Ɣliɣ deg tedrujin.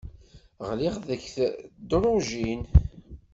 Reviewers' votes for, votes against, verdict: 0, 2, rejected